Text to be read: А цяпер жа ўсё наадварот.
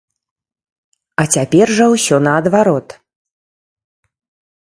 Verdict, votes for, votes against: accepted, 2, 0